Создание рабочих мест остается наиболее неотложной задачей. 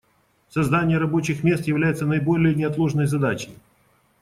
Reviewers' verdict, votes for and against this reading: rejected, 0, 2